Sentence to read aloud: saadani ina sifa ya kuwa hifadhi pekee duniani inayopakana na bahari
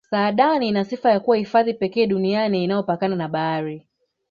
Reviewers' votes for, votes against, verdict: 3, 0, accepted